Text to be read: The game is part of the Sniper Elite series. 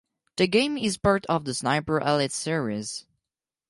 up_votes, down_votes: 4, 0